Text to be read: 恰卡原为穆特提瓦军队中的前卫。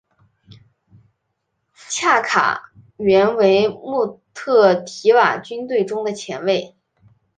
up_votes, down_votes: 2, 0